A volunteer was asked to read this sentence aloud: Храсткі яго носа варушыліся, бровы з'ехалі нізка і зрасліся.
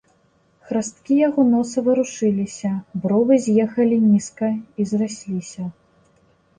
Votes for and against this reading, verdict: 2, 0, accepted